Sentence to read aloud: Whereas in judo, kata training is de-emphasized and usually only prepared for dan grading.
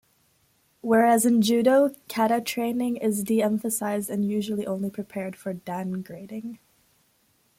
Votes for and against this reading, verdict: 0, 2, rejected